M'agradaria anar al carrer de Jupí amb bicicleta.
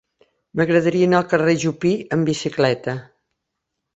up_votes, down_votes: 0, 2